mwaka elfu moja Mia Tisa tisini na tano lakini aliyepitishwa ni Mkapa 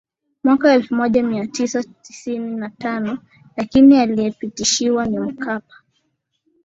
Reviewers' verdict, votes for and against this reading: accepted, 11, 4